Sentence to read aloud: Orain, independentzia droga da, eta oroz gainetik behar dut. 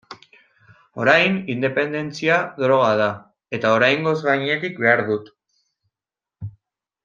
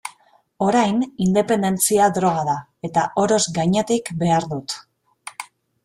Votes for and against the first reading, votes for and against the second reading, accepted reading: 0, 2, 2, 0, second